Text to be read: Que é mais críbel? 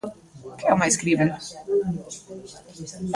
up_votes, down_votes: 0, 2